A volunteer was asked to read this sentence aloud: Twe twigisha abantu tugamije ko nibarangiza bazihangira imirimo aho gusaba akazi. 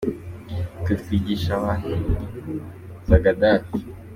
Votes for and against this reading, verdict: 0, 2, rejected